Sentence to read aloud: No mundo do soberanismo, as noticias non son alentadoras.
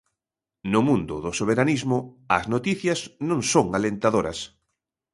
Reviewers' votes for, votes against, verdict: 2, 0, accepted